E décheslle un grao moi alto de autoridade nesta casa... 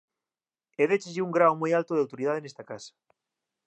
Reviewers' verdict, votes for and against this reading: accepted, 2, 0